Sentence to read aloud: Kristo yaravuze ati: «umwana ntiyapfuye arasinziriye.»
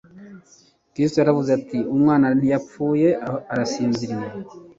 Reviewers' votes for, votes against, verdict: 2, 0, accepted